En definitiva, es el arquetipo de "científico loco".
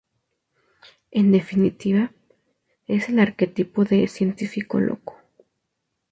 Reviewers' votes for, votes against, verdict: 2, 0, accepted